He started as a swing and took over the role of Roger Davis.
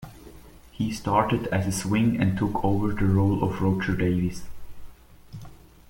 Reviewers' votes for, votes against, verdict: 2, 0, accepted